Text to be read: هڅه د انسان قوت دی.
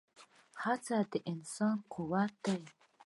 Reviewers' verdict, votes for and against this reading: accepted, 2, 0